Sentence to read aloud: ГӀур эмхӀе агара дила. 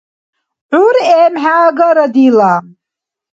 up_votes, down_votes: 2, 0